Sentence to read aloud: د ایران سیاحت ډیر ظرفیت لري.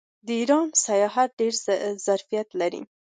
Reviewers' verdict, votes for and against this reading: accepted, 2, 0